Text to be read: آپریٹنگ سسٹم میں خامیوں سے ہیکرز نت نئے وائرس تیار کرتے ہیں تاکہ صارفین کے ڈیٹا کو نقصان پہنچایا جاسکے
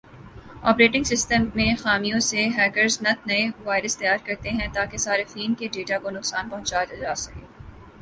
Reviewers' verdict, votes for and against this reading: accepted, 2, 0